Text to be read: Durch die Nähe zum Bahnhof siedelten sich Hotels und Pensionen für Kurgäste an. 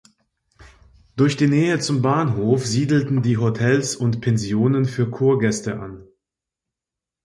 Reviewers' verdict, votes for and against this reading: rejected, 1, 2